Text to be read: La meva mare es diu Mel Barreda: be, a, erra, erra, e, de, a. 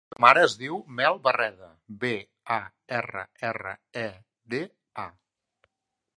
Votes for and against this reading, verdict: 0, 4, rejected